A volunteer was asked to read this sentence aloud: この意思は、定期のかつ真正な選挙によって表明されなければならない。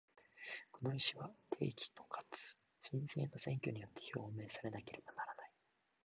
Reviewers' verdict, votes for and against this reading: rejected, 1, 2